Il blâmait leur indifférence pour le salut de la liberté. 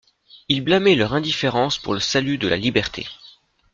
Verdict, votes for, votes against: accepted, 2, 0